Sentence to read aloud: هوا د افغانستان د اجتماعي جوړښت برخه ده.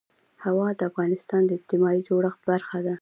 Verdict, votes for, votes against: accepted, 2, 0